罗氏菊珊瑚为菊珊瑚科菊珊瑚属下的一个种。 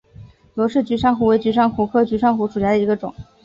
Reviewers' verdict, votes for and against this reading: accepted, 4, 0